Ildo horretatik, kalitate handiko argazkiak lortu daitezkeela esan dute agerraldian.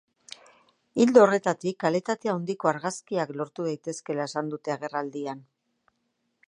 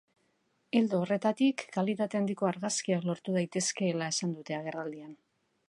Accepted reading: second